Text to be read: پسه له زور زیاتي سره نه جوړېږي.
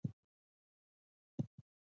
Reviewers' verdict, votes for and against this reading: rejected, 1, 2